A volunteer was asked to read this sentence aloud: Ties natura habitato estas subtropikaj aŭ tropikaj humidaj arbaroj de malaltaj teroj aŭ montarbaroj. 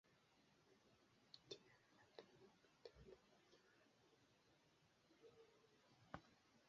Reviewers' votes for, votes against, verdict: 0, 2, rejected